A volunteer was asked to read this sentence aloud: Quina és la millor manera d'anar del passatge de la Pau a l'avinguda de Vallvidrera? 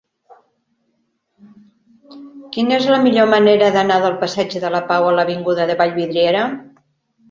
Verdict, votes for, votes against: rejected, 2, 4